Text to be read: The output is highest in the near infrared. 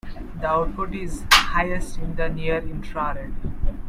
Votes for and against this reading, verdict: 0, 2, rejected